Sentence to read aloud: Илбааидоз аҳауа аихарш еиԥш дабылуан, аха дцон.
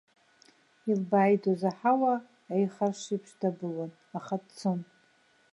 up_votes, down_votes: 1, 2